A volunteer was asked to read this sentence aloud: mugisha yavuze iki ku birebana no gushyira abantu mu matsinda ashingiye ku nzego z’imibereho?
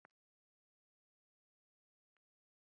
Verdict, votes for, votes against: rejected, 0, 2